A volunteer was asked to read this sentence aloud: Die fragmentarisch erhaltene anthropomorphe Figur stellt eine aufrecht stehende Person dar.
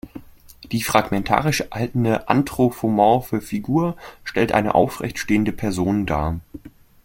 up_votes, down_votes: 0, 2